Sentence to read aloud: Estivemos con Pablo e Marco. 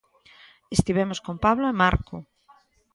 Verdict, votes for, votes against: accepted, 2, 0